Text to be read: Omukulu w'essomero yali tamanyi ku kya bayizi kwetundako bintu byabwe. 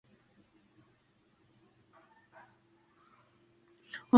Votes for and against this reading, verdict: 0, 2, rejected